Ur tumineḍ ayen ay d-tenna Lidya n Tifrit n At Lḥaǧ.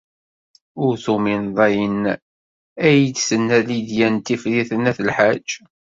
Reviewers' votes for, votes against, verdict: 2, 0, accepted